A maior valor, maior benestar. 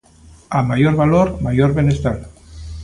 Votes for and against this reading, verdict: 2, 0, accepted